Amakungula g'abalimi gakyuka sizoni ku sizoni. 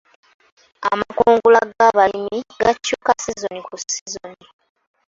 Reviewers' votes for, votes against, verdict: 0, 2, rejected